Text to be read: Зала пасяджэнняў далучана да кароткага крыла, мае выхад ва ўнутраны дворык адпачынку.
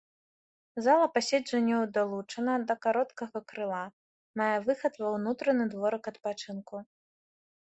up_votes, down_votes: 1, 2